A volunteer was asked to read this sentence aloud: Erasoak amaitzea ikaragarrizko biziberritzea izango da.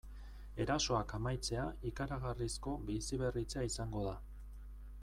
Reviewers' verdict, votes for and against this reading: accepted, 3, 0